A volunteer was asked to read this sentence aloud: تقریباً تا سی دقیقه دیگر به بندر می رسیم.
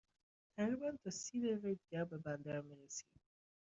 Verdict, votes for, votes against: accepted, 2, 0